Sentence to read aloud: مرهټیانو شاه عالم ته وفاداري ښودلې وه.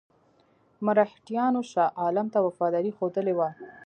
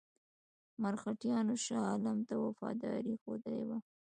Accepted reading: second